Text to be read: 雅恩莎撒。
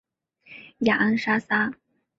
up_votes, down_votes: 5, 1